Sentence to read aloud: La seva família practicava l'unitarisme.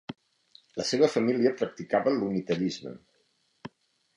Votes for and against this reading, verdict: 2, 0, accepted